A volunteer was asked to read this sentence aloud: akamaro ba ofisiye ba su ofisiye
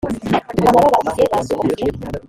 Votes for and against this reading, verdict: 0, 2, rejected